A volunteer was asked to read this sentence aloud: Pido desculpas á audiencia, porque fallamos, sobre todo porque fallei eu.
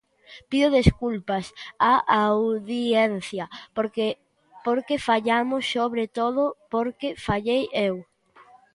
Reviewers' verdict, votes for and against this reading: rejected, 0, 2